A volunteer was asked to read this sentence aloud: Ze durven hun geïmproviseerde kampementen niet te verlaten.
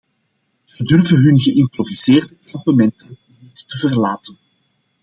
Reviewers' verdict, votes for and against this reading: accepted, 2, 1